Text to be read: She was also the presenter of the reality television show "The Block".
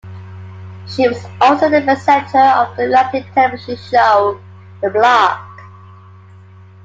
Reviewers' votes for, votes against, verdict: 1, 2, rejected